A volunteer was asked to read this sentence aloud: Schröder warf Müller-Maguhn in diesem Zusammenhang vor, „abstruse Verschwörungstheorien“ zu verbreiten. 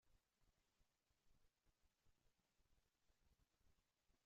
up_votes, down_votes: 1, 2